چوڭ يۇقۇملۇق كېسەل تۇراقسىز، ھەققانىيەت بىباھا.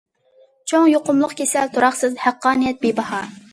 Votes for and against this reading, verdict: 2, 0, accepted